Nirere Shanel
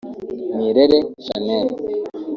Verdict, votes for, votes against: rejected, 1, 2